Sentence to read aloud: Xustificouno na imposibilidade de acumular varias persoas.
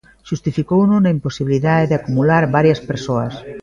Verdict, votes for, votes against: rejected, 1, 2